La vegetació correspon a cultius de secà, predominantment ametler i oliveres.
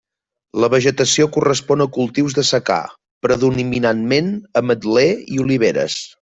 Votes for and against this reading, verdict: 0, 2, rejected